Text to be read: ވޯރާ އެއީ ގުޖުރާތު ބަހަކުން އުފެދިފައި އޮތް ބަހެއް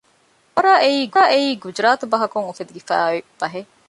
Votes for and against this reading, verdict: 1, 2, rejected